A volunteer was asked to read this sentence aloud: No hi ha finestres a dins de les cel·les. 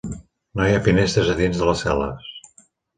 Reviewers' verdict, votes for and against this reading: accepted, 3, 1